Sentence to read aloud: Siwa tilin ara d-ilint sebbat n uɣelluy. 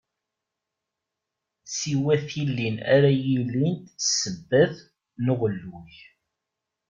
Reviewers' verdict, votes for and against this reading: rejected, 1, 2